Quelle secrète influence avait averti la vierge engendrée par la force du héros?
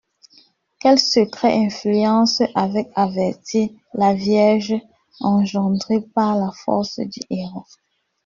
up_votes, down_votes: 1, 2